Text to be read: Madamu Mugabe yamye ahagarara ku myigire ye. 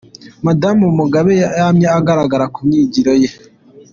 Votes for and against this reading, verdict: 2, 0, accepted